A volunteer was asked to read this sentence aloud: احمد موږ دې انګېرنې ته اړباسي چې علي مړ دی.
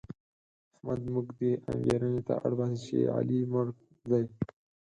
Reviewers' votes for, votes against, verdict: 2, 4, rejected